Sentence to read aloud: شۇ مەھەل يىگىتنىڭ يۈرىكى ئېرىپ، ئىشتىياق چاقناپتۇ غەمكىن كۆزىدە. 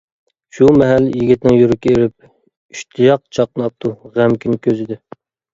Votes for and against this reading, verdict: 1, 2, rejected